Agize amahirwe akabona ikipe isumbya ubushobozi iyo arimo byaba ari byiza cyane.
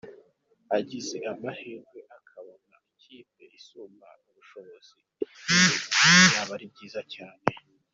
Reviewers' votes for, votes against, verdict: 2, 0, accepted